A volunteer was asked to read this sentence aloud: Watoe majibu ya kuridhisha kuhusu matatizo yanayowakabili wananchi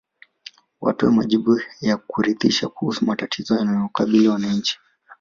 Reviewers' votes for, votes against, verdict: 2, 1, accepted